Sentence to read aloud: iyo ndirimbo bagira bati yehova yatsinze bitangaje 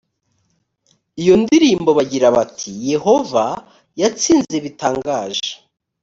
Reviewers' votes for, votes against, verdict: 3, 0, accepted